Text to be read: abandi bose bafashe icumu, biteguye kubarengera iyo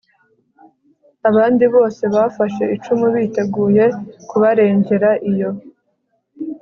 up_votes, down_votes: 4, 0